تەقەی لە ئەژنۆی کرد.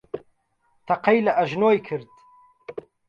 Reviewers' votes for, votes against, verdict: 4, 0, accepted